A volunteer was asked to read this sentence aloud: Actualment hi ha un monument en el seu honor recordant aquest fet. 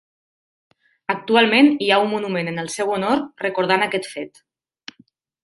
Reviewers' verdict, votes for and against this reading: accepted, 3, 0